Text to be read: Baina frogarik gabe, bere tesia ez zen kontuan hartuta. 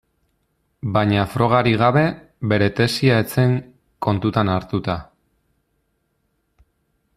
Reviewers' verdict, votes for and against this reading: rejected, 0, 2